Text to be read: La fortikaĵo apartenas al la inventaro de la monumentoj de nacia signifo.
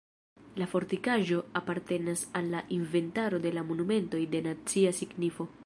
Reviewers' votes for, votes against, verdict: 2, 1, accepted